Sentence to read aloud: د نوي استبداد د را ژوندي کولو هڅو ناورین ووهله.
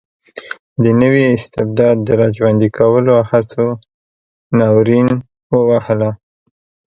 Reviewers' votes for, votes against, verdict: 2, 0, accepted